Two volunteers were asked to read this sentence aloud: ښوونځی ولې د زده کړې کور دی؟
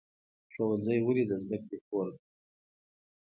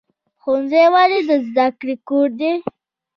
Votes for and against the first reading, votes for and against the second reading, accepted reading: 2, 0, 0, 2, first